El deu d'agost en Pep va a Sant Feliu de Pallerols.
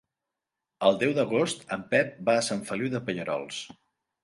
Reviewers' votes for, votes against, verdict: 2, 0, accepted